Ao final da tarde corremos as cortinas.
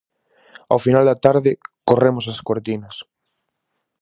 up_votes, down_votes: 4, 0